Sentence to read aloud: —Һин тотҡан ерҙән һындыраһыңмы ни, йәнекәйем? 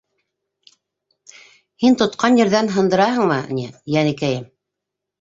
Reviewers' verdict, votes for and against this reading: accepted, 2, 0